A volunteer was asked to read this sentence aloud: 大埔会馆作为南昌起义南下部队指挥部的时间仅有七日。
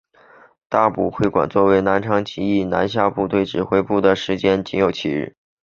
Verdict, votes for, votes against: accepted, 6, 0